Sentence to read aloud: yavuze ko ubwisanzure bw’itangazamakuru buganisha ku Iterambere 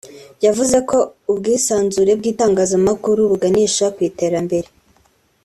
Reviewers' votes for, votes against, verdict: 2, 0, accepted